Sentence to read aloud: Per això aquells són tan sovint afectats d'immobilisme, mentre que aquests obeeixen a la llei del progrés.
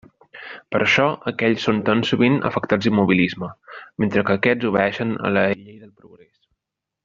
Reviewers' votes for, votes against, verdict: 1, 2, rejected